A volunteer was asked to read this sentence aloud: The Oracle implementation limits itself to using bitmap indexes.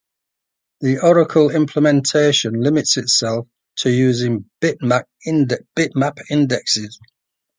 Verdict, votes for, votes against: rejected, 0, 2